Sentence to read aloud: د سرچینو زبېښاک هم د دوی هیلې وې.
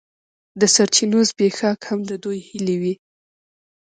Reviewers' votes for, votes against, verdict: 1, 2, rejected